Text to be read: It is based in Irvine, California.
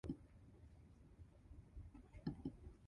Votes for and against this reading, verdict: 0, 2, rejected